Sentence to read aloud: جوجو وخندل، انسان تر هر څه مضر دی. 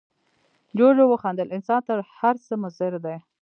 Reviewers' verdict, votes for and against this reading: rejected, 0, 2